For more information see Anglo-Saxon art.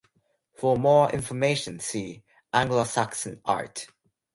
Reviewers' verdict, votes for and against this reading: accepted, 4, 0